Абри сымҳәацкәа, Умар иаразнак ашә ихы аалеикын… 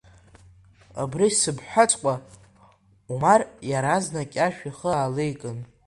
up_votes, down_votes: 0, 2